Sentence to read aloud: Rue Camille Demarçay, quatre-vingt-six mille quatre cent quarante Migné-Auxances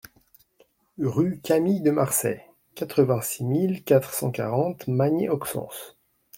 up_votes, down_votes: 0, 2